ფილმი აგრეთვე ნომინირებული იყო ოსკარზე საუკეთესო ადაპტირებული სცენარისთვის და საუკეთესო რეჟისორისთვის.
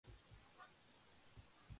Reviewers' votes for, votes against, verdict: 0, 2, rejected